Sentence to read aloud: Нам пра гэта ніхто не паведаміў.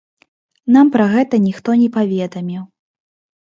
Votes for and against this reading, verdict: 2, 0, accepted